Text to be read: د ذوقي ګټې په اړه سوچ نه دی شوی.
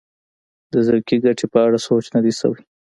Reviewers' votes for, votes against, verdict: 0, 2, rejected